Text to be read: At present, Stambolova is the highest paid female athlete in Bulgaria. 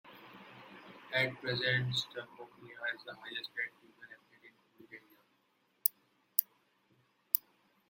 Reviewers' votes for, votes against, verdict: 0, 2, rejected